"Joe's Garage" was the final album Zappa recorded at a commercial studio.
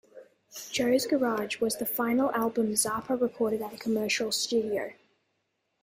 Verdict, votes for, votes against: accepted, 2, 0